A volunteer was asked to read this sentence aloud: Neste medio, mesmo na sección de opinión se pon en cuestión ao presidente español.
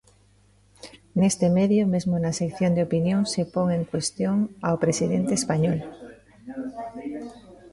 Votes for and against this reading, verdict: 0, 2, rejected